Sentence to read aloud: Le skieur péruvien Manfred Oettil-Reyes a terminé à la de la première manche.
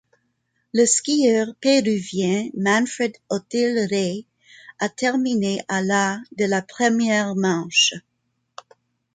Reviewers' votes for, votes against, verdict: 1, 2, rejected